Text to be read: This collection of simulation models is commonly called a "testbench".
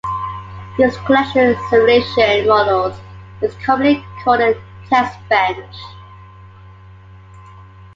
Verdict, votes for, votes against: accepted, 2, 0